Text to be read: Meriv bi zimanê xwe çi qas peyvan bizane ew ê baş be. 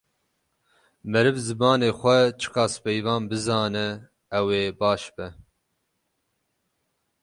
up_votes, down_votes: 0, 6